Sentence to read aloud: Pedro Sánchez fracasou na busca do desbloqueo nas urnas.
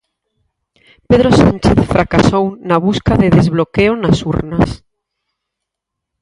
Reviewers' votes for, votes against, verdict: 2, 4, rejected